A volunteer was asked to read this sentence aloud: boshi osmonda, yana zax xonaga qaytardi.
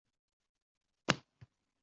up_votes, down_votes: 0, 2